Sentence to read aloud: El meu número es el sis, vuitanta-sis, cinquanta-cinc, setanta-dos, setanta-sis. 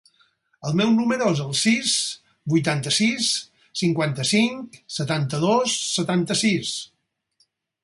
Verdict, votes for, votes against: accepted, 4, 0